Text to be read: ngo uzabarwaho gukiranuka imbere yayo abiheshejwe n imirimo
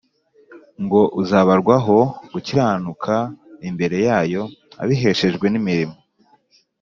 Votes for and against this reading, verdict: 2, 0, accepted